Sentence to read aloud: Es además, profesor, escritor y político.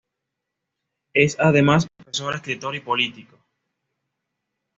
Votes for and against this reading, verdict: 2, 0, accepted